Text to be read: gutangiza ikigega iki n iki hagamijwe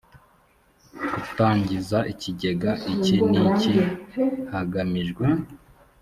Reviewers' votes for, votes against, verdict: 3, 0, accepted